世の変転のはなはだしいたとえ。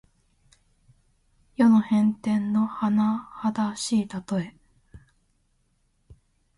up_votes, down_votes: 2, 0